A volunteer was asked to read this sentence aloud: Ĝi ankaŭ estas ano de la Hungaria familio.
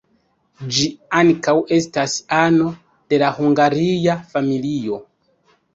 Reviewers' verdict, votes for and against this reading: accepted, 2, 0